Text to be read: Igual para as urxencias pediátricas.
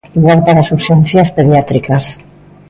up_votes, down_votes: 2, 0